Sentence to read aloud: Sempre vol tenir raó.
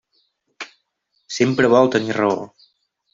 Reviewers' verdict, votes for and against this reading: accepted, 3, 0